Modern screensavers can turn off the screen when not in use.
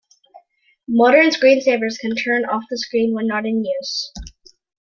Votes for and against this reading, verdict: 2, 0, accepted